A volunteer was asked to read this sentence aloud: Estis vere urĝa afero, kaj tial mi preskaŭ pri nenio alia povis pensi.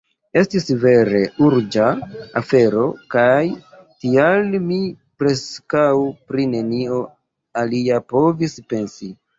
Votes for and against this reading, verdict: 2, 1, accepted